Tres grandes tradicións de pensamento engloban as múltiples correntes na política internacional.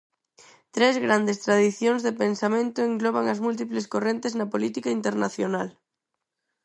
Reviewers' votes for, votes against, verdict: 4, 0, accepted